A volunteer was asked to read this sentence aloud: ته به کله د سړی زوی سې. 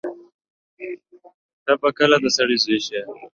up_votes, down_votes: 2, 1